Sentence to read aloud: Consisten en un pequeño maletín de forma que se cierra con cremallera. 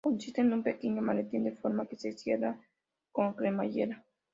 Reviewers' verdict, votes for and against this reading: rejected, 0, 2